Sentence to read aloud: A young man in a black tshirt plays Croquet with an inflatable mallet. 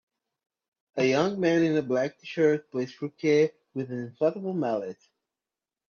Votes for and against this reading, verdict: 0, 2, rejected